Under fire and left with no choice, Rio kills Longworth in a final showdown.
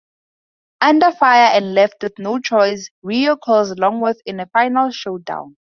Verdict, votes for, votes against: rejected, 0, 2